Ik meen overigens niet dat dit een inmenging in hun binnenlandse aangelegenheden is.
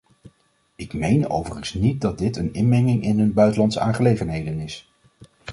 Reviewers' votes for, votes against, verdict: 1, 2, rejected